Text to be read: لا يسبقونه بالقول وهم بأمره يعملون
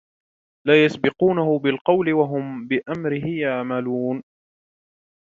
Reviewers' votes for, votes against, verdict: 2, 0, accepted